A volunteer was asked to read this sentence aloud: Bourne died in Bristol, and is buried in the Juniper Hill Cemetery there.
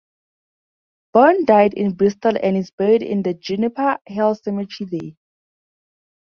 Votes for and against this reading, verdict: 0, 2, rejected